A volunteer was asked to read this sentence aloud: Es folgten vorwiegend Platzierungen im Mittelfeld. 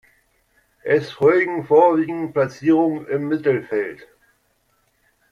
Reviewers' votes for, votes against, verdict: 1, 2, rejected